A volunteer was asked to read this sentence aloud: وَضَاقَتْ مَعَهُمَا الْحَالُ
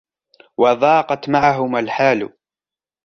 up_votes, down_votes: 2, 0